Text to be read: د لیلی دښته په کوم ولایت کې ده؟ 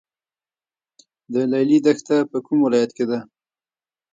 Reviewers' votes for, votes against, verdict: 2, 1, accepted